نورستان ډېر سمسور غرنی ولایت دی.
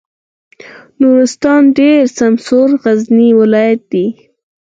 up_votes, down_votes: 0, 4